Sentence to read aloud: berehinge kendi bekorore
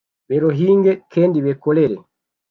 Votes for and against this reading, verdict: 0, 2, rejected